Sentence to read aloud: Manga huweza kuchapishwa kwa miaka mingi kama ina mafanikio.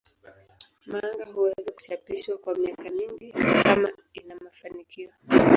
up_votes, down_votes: 1, 3